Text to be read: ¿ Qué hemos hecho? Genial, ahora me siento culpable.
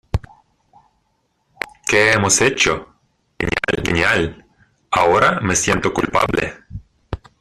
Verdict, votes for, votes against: rejected, 0, 2